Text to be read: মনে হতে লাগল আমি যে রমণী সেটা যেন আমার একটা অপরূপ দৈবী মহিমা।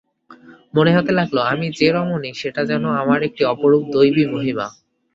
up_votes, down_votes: 0, 2